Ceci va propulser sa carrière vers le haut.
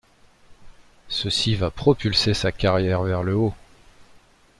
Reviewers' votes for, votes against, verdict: 2, 0, accepted